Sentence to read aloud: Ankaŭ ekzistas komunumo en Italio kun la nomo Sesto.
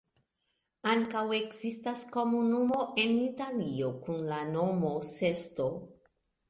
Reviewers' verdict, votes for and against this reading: accepted, 2, 1